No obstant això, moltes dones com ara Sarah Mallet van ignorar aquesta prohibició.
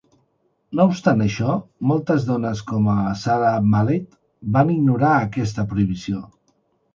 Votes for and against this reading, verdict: 1, 2, rejected